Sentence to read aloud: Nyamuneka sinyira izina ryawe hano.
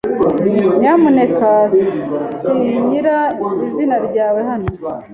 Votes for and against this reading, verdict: 2, 0, accepted